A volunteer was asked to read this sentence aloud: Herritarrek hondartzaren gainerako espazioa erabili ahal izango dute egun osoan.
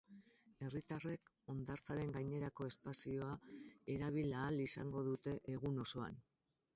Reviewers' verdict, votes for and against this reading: rejected, 0, 2